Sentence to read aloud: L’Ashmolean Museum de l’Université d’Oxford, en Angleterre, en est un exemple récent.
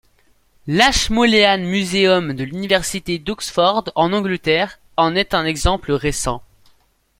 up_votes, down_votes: 2, 0